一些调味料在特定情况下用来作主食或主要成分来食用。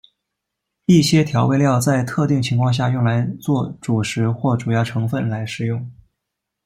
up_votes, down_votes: 2, 1